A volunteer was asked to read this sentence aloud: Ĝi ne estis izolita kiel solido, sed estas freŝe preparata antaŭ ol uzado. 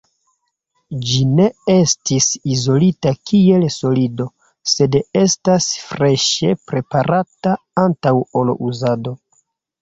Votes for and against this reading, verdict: 2, 0, accepted